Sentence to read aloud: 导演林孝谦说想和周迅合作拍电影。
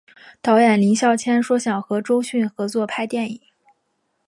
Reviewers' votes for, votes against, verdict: 0, 2, rejected